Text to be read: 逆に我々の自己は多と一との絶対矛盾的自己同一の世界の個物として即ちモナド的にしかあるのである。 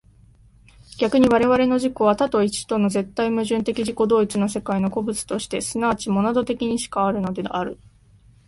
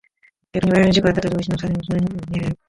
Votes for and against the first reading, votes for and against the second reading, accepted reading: 2, 1, 0, 2, first